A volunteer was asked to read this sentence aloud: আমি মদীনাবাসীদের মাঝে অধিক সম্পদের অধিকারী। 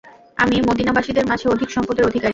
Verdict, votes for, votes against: rejected, 0, 2